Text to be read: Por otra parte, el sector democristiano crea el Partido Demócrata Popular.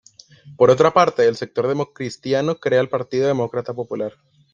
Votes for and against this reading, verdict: 2, 0, accepted